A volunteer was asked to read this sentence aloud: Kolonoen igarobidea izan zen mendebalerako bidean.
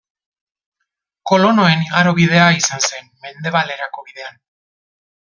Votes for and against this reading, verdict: 1, 2, rejected